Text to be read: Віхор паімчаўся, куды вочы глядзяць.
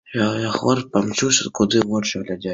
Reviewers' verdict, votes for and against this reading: rejected, 1, 2